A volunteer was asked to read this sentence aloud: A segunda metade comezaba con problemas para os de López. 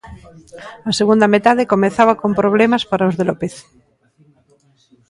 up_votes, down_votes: 2, 0